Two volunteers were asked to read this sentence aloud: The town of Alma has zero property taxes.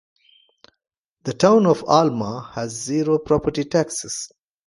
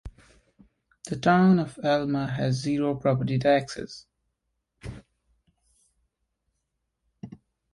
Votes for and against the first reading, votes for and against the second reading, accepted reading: 2, 0, 1, 2, first